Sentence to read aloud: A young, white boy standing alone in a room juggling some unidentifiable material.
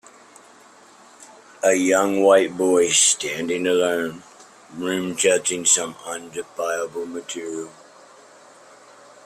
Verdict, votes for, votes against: rejected, 0, 2